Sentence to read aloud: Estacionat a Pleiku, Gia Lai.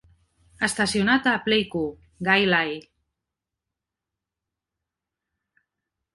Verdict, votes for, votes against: rejected, 0, 2